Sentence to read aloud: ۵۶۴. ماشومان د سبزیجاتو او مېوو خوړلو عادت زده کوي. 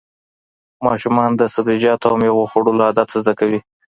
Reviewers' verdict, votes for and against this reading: rejected, 0, 2